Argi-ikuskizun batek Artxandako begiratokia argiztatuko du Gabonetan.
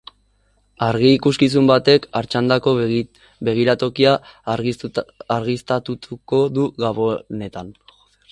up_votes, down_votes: 0, 2